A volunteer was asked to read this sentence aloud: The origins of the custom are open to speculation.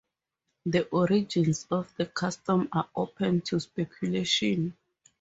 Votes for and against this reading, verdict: 2, 2, rejected